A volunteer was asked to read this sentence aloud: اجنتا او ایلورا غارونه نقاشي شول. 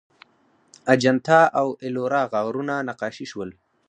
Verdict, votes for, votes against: rejected, 2, 4